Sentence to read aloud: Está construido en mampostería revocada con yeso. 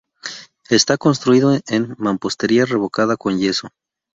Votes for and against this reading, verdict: 2, 0, accepted